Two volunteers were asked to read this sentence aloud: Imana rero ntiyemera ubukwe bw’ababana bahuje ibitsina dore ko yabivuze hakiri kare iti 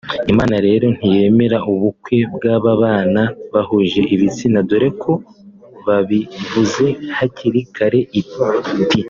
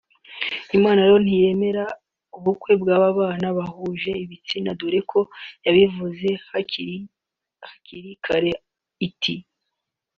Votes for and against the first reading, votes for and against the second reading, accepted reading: 3, 2, 1, 2, first